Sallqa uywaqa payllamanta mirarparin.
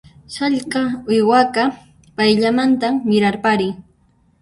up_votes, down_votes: 0, 2